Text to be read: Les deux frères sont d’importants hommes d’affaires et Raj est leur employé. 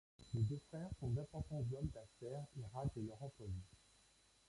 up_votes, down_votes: 0, 2